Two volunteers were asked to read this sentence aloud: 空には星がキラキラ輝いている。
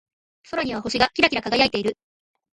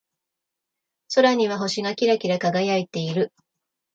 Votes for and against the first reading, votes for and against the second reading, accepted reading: 2, 2, 2, 1, second